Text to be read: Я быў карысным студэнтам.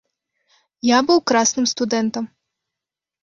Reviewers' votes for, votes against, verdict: 0, 2, rejected